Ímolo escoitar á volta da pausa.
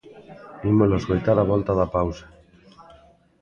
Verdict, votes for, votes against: accepted, 2, 0